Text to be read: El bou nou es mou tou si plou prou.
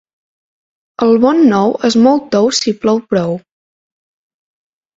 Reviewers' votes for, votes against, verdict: 0, 2, rejected